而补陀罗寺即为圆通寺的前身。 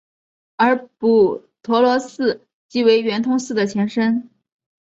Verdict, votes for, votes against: accepted, 2, 0